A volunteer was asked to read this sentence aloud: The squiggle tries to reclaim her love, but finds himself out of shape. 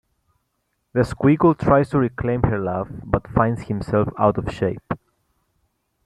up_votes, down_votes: 2, 0